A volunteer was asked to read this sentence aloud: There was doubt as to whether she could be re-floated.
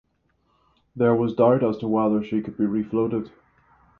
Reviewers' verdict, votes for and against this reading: rejected, 0, 3